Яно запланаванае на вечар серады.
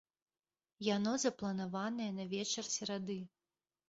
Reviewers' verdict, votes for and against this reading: accepted, 2, 1